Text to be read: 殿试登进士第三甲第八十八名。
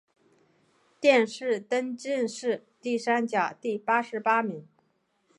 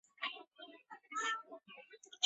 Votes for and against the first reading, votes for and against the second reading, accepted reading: 4, 0, 0, 4, first